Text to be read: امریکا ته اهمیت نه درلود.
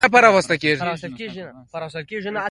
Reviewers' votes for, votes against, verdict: 0, 2, rejected